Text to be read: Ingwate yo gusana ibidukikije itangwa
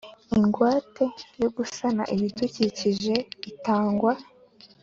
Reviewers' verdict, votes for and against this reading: accepted, 2, 0